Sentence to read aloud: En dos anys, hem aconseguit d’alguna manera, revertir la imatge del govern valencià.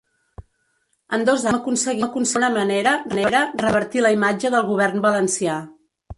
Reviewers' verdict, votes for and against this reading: rejected, 0, 2